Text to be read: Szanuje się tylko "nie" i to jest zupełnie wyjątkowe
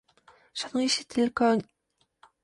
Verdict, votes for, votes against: rejected, 0, 2